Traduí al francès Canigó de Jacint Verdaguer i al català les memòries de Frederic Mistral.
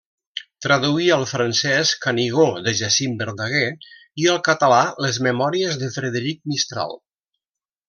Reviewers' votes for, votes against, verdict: 2, 0, accepted